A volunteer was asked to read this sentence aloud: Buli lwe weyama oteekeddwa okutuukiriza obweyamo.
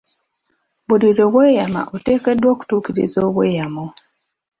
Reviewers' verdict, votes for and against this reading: accepted, 2, 0